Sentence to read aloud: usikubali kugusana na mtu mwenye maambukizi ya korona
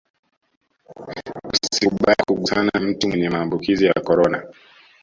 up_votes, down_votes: 2, 1